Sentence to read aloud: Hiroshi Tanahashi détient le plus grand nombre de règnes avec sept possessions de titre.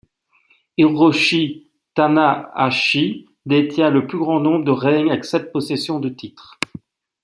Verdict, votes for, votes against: accepted, 2, 0